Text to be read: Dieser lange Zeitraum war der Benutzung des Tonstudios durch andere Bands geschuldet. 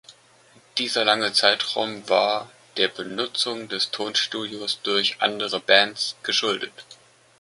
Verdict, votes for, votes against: accepted, 2, 0